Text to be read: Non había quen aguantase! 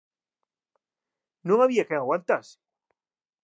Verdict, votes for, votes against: accepted, 2, 0